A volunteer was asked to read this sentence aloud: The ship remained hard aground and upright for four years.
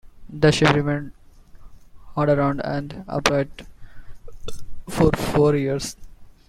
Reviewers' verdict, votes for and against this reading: rejected, 1, 2